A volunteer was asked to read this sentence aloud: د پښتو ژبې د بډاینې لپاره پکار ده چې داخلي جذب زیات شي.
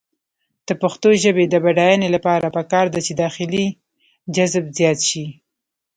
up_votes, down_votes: 0, 2